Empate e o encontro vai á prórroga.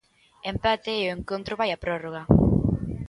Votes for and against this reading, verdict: 2, 0, accepted